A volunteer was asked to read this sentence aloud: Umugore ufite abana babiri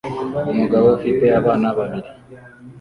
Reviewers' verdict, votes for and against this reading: rejected, 1, 2